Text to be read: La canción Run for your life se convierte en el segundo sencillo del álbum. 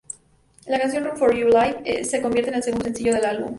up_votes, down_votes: 2, 0